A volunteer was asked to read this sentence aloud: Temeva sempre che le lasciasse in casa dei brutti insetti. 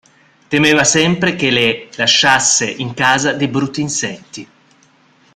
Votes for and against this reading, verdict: 2, 1, accepted